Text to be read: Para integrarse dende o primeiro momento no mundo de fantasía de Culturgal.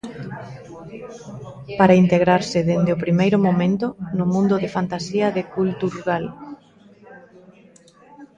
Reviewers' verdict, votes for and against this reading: rejected, 1, 2